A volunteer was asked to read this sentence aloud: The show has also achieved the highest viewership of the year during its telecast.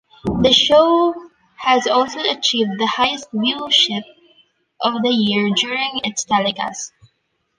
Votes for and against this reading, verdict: 2, 0, accepted